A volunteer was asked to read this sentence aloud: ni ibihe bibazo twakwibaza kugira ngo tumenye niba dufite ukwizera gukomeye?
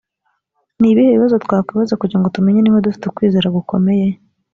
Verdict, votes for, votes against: accepted, 2, 0